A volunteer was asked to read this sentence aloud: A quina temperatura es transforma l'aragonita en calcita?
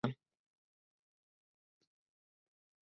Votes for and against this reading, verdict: 1, 3, rejected